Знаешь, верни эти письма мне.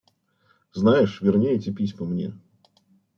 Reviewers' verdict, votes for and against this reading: accepted, 2, 0